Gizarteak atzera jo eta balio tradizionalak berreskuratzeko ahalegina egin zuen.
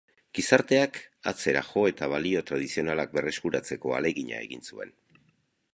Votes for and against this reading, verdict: 2, 0, accepted